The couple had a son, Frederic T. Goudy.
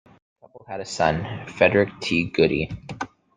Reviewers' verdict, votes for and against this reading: rejected, 0, 2